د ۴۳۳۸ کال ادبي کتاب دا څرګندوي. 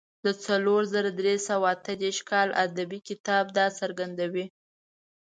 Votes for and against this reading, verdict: 0, 2, rejected